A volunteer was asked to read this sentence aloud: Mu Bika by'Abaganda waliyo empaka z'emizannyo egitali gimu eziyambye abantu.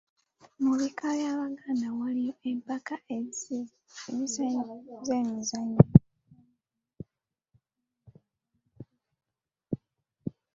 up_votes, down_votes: 0, 2